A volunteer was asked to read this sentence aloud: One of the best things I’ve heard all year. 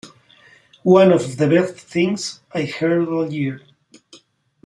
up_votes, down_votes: 1, 2